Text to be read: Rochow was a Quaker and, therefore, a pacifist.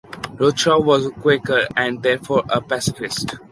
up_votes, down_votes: 2, 0